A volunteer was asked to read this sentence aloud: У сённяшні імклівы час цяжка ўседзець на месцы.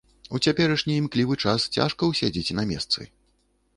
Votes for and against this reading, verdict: 1, 2, rejected